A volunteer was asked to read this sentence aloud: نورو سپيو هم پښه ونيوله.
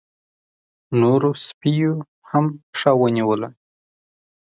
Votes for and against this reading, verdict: 0, 2, rejected